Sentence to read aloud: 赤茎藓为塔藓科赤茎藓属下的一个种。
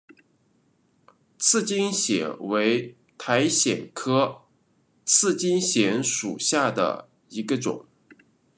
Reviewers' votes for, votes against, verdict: 2, 1, accepted